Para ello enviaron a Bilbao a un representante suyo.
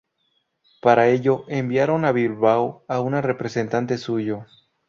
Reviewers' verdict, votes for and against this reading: rejected, 0, 2